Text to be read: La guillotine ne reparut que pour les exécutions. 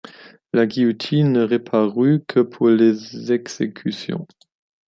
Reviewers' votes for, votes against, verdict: 0, 2, rejected